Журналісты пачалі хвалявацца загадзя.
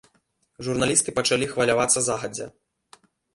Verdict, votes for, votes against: accepted, 3, 1